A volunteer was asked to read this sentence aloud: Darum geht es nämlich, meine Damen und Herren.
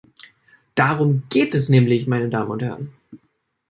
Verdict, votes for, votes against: accepted, 2, 0